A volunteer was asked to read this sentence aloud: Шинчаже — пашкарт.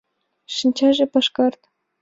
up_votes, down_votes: 2, 0